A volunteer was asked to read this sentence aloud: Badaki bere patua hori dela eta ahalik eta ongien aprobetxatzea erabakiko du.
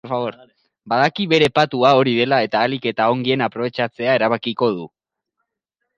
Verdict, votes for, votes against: rejected, 0, 3